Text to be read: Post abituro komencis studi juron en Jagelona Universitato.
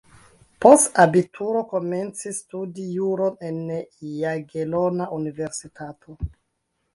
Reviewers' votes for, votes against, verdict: 1, 2, rejected